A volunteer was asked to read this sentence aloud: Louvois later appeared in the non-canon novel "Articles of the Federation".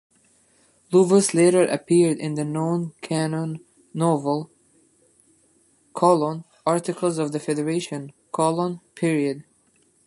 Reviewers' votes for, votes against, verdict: 1, 2, rejected